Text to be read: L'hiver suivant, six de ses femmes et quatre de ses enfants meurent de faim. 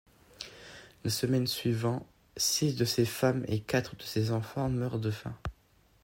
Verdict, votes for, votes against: rejected, 1, 2